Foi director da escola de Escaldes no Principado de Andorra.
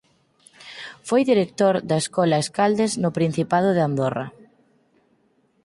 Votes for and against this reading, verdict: 0, 4, rejected